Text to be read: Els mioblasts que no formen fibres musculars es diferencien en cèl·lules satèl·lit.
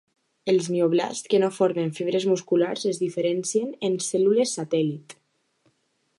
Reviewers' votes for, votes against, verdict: 2, 0, accepted